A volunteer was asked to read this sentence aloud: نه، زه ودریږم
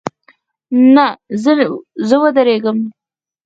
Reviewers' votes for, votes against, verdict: 0, 4, rejected